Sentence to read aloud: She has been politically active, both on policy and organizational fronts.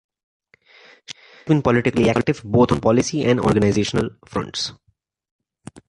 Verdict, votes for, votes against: rejected, 1, 2